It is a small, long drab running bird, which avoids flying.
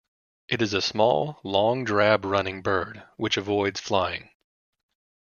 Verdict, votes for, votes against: accepted, 2, 0